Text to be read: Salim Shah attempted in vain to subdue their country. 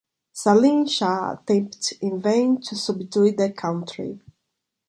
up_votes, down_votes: 1, 2